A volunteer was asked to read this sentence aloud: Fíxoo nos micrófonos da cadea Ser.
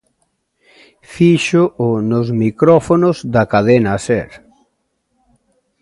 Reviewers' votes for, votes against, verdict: 0, 2, rejected